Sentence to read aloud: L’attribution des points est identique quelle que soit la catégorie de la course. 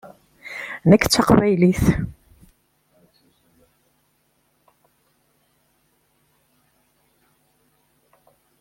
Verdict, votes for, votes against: rejected, 1, 2